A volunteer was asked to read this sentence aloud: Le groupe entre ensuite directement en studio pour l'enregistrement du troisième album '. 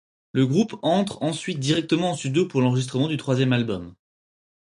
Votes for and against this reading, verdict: 4, 0, accepted